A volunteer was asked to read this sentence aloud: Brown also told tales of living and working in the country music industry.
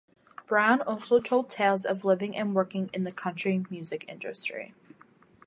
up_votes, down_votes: 2, 0